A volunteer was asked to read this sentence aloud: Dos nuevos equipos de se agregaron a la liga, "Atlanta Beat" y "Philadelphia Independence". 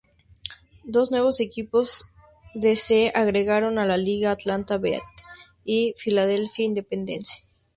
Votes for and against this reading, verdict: 2, 0, accepted